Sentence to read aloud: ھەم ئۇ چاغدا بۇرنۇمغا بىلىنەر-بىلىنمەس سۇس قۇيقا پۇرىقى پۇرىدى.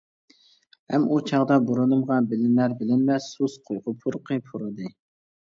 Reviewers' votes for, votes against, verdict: 1, 2, rejected